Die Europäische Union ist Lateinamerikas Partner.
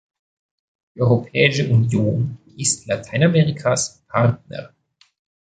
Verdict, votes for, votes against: rejected, 1, 2